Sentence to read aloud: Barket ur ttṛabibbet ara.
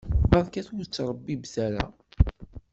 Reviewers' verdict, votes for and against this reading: accepted, 2, 0